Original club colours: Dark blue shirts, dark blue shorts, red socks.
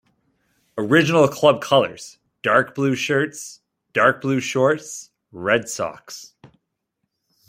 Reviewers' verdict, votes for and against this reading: accepted, 2, 0